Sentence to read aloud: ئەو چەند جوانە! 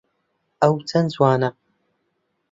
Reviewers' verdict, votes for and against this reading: accepted, 2, 0